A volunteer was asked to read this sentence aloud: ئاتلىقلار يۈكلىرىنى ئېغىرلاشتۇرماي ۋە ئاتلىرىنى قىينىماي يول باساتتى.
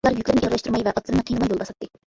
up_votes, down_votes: 0, 2